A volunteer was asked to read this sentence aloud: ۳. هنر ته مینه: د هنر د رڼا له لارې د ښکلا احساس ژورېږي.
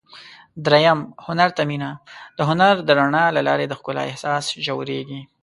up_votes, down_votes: 0, 2